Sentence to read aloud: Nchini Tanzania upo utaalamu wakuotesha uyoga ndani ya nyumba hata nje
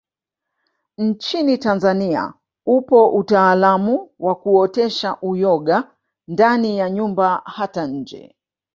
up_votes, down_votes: 1, 2